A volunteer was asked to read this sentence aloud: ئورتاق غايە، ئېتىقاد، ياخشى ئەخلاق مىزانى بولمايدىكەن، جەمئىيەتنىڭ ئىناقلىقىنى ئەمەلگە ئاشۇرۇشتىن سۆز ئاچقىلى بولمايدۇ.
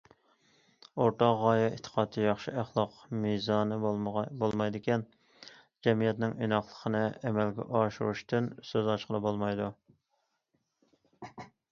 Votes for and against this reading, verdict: 1, 2, rejected